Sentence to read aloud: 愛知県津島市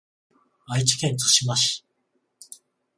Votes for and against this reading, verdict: 14, 0, accepted